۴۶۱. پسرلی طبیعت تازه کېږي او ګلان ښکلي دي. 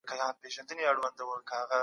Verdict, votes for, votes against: rejected, 0, 2